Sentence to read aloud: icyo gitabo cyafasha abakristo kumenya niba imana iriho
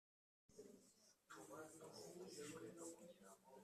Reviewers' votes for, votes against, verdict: 1, 2, rejected